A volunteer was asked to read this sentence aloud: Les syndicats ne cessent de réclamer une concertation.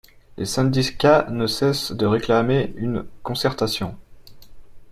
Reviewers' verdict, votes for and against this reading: rejected, 1, 2